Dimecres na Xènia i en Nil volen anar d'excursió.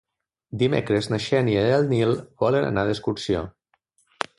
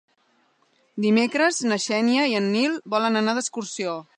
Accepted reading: second